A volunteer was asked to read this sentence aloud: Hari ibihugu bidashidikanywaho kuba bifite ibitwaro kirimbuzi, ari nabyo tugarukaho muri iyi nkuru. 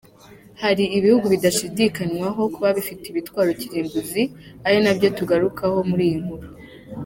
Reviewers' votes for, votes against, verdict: 2, 0, accepted